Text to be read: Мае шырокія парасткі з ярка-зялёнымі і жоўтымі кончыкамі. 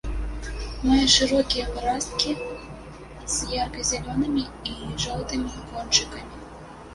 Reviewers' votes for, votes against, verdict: 1, 2, rejected